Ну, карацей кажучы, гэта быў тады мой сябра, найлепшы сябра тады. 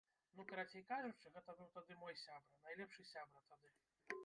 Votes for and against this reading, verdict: 1, 2, rejected